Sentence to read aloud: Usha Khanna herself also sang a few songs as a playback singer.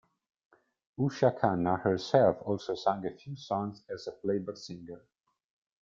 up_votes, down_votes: 2, 0